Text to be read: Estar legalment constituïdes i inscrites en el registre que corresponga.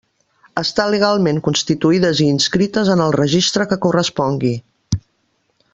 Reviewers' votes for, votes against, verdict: 0, 2, rejected